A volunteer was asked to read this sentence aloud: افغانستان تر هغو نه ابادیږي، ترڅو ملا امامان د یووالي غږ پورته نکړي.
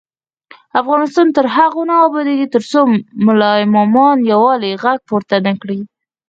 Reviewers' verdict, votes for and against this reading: rejected, 0, 4